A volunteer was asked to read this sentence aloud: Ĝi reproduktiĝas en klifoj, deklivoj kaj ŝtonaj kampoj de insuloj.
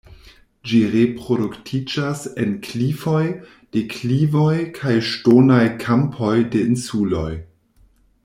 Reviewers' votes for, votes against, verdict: 2, 0, accepted